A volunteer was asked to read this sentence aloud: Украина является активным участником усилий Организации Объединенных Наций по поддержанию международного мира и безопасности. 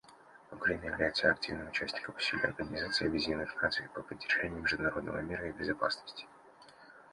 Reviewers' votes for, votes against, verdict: 2, 0, accepted